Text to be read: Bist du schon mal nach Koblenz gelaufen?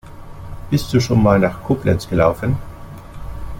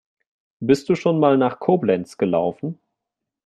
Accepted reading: second